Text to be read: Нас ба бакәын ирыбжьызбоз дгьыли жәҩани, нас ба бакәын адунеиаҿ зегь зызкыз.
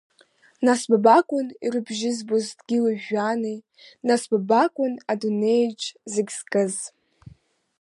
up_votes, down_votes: 3, 1